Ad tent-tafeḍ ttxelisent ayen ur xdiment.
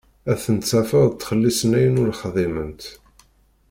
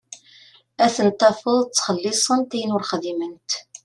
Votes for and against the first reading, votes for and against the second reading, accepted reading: 0, 2, 2, 0, second